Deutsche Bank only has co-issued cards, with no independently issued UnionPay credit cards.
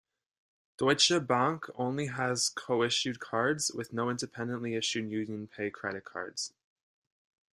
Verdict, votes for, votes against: accepted, 2, 0